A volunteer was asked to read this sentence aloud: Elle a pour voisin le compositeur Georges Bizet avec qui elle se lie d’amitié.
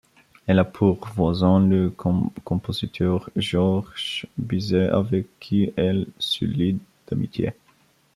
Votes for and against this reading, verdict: 1, 2, rejected